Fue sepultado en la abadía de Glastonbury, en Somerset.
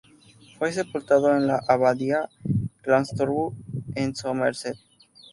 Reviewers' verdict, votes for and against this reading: rejected, 0, 2